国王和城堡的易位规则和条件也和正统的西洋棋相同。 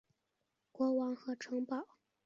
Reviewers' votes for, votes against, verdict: 1, 5, rejected